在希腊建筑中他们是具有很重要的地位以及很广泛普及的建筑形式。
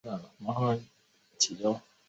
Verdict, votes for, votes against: rejected, 0, 2